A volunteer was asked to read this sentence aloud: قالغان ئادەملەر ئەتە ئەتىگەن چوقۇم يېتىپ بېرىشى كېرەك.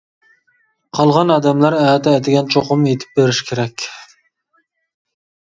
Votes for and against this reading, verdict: 2, 0, accepted